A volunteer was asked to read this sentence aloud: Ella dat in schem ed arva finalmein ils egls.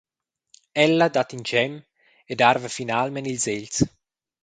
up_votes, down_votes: 2, 0